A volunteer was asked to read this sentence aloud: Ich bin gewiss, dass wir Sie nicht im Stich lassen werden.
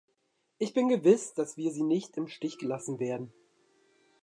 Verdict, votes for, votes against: rejected, 1, 2